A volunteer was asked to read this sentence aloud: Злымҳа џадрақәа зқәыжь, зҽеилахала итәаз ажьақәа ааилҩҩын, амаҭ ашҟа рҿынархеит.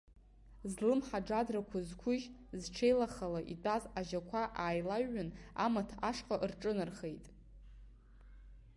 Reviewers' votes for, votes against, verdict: 3, 0, accepted